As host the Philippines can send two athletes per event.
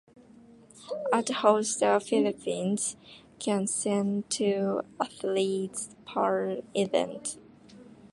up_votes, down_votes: 1, 2